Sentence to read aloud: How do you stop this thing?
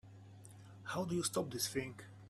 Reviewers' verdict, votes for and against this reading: rejected, 1, 2